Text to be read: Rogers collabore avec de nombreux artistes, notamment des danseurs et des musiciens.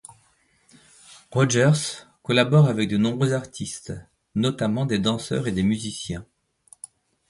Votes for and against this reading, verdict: 2, 0, accepted